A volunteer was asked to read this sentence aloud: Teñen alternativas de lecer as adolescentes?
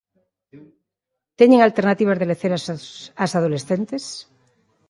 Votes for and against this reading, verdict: 0, 3, rejected